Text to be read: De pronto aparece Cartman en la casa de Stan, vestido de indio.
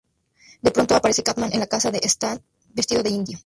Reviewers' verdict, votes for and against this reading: rejected, 0, 2